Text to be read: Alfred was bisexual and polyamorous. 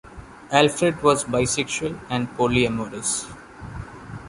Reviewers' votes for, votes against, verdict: 2, 0, accepted